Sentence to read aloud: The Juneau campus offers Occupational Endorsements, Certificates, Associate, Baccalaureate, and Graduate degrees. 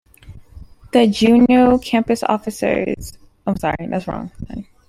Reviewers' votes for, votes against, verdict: 0, 2, rejected